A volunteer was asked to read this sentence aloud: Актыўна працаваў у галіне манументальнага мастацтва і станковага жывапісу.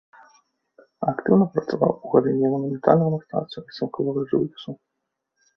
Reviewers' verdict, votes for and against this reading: rejected, 0, 2